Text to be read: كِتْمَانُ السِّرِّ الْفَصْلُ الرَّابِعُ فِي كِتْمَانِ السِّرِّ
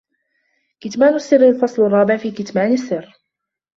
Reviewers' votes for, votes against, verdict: 2, 0, accepted